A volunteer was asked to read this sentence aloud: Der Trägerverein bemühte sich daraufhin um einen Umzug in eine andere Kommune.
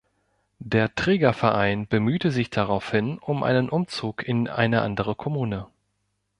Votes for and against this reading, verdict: 0, 2, rejected